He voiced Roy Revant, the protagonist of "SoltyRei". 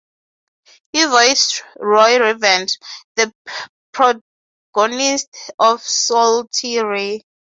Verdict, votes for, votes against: rejected, 0, 3